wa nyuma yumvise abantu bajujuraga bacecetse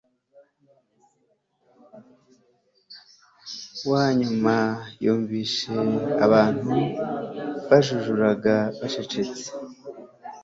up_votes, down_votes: 3, 0